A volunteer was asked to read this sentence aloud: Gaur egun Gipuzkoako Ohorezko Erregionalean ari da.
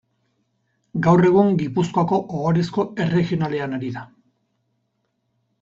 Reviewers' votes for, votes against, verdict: 4, 0, accepted